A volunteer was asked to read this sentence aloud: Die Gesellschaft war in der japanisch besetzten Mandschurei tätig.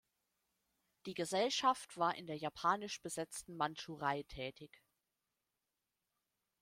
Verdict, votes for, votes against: accepted, 2, 0